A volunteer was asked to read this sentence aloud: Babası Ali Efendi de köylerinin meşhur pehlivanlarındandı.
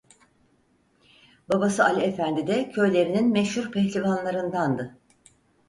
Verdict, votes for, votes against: accepted, 4, 0